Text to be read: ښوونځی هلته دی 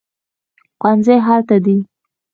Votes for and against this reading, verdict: 2, 0, accepted